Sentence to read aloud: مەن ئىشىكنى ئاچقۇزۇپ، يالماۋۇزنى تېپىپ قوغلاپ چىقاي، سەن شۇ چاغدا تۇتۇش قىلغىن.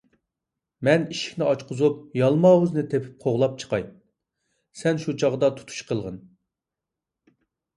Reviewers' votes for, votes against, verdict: 2, 0, accepted